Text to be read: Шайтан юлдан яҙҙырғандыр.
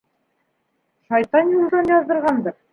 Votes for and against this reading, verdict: 2, 1, accepted